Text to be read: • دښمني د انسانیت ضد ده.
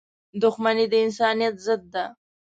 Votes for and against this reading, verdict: 2, 0, accepted